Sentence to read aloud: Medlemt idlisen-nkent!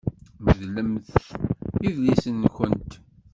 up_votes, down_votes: 0, 2